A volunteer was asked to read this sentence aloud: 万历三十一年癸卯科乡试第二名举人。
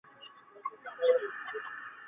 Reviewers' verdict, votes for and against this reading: rejected, 1, 2